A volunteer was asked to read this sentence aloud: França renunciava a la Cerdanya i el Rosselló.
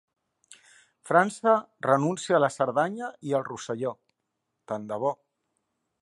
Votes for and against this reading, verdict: 0, 2, rejected